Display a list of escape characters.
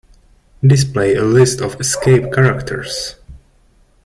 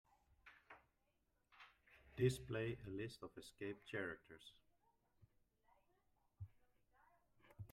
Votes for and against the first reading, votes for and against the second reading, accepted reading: 1, 2, 2, 1, second